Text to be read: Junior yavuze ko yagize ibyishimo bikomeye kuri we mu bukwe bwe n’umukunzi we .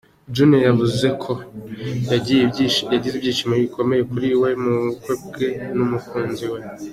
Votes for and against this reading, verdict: 2, 1, accepted